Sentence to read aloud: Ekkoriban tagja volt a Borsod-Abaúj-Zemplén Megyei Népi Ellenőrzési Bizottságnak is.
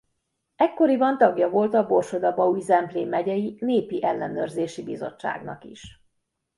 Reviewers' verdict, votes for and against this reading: accepted, 2, 0